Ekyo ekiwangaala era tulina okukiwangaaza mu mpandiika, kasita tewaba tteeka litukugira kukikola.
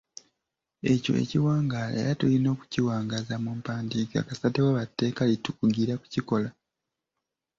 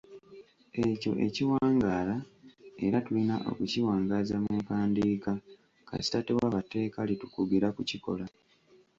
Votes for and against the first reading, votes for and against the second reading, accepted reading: 2, 0, 1, 2, first